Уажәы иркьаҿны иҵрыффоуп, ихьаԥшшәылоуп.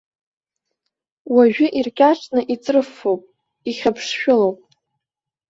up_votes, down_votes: 1, 2